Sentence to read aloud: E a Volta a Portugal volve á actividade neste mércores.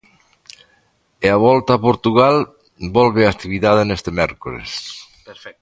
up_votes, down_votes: 0, 2